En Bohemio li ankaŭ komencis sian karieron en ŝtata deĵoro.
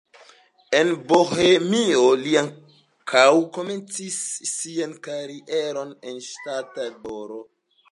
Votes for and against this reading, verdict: 2, 0, accepted